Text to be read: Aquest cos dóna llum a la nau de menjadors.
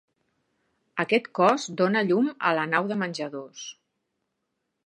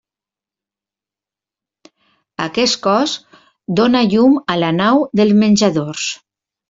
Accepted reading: first